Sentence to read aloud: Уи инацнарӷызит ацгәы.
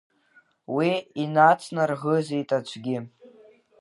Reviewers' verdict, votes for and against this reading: rejected, 0, 2